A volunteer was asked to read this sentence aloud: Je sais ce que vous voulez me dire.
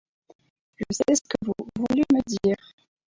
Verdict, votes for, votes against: rejected, 0, 4